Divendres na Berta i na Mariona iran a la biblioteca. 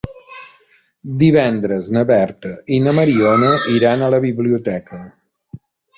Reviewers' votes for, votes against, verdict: 3, 0, accepted